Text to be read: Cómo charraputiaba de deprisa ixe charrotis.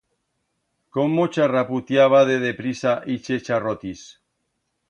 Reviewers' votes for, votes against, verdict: 2, 0, accepted